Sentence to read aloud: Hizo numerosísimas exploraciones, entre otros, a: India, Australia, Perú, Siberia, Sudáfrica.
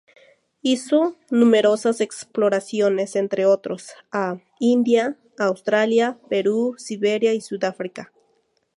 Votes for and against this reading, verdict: 0, 2, rejected